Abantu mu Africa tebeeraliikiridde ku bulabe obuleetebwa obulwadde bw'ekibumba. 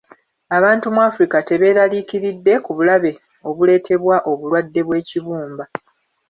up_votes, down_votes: 2, 1